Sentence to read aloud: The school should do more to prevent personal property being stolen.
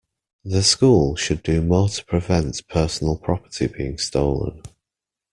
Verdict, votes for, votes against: accepted, 2, 0